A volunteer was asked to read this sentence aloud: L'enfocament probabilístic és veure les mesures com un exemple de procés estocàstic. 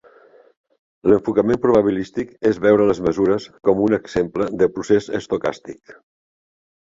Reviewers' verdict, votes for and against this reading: accepted, 2, 0